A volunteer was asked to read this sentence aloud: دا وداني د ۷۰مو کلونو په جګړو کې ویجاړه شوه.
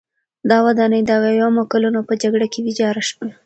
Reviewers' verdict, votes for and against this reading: rejected, 0, 2